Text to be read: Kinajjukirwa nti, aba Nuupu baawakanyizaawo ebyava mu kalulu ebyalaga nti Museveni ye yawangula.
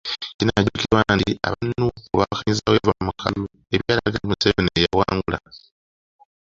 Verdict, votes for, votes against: rejected, 1, 2